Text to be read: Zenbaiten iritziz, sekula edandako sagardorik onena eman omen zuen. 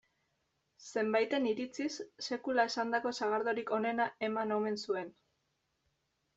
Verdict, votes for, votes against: rejected, 1, 2